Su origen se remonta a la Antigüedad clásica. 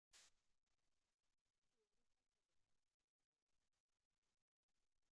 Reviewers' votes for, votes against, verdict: 0, 2, rejected